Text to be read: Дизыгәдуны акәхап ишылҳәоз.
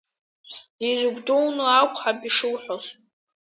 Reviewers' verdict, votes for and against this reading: rejected, 0, 2